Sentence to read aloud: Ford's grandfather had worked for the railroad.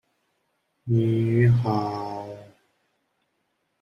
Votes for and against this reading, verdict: 0, 2, rejected